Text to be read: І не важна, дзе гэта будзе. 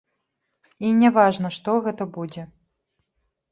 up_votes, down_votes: 0, 3